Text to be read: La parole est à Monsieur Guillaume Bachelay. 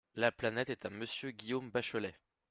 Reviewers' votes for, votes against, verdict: 0, 5, rejected